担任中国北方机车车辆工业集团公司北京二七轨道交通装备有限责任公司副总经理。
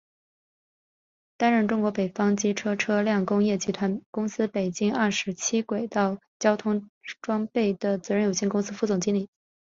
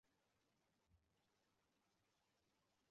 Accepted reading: first